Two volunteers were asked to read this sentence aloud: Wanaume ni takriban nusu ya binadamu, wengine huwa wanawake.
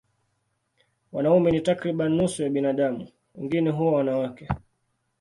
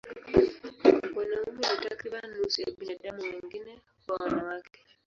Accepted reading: first